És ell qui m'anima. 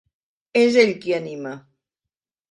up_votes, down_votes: 1, 2